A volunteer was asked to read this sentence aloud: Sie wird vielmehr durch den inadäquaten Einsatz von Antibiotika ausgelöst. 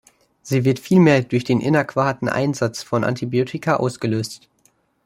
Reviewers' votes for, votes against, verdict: 0, 2, rejected